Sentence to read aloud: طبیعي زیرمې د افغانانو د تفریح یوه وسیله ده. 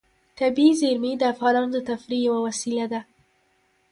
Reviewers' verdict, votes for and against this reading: accepted, 2, 1